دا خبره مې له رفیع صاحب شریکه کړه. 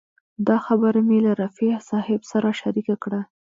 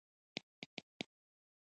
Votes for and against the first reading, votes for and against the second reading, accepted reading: 2, 0, 1, 2, first